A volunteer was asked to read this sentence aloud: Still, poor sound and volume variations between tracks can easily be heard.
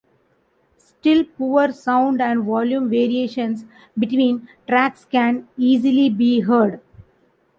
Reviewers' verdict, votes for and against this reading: accepted, 2, 1